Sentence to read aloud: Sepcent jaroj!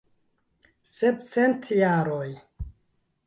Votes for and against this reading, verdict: 0, 2, rejected